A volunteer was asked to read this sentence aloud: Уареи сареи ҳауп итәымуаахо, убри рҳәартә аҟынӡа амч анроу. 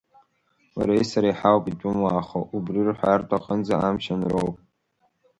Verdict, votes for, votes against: accepted, 3, 1